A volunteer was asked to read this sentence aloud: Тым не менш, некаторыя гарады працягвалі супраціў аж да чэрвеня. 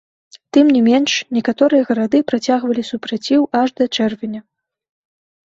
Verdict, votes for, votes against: rejected, 1, 3